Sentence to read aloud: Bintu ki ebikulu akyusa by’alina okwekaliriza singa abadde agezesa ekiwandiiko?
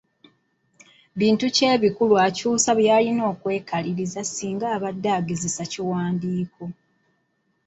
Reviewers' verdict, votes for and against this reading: rejected, 1, 2